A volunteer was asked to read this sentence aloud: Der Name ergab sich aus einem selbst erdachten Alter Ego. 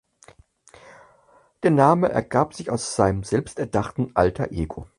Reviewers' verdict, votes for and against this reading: rejected, 2, 4